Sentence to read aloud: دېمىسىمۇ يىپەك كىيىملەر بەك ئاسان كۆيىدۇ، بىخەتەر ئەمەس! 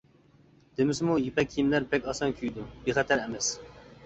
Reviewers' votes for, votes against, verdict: 2, 0, accepted